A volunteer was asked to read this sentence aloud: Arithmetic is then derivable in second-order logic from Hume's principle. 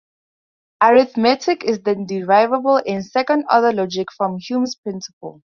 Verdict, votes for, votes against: rejected, 0, 2